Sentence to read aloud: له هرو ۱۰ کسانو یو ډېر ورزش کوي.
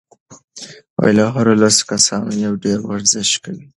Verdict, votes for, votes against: rejected, 0, 2